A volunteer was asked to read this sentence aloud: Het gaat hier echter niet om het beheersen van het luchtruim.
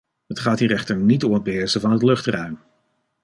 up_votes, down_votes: 2, 0